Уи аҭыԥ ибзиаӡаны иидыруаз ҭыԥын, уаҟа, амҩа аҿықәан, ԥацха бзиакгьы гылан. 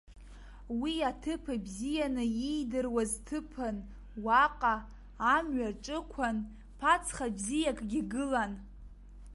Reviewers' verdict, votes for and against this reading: rejected, 0, 2